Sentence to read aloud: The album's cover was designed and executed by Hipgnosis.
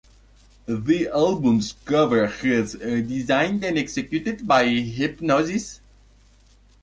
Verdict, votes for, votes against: rejected, 0, 2